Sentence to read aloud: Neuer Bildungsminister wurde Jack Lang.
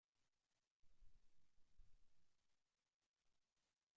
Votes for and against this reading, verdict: 0, 2, rejected